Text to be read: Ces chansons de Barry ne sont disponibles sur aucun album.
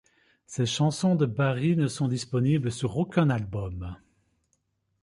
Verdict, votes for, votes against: accepted, 2, 0